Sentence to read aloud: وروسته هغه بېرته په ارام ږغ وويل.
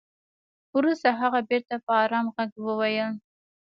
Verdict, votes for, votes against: rejected, 1, 2